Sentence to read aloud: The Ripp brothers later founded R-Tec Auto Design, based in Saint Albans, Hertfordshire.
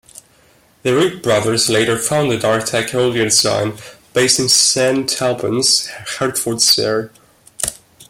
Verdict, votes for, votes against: accepted, 2, 0